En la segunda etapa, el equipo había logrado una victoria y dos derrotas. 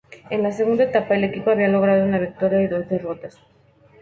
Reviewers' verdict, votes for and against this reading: accepted, 4, 0